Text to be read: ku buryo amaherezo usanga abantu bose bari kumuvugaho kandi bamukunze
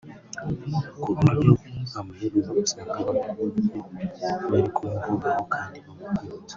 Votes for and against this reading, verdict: 1, 2, rejected